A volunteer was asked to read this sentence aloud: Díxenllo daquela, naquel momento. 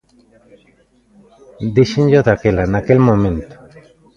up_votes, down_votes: 1, 2